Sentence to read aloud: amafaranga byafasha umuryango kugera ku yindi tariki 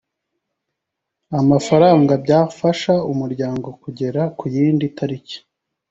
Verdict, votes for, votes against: accepted, 2, 0